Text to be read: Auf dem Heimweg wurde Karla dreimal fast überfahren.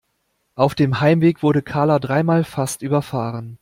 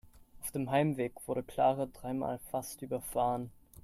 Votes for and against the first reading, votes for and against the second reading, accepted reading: 2, 0, 0, 2, first